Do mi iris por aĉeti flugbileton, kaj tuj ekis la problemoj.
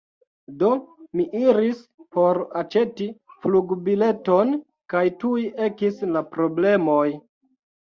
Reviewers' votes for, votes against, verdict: 2, 0, accepted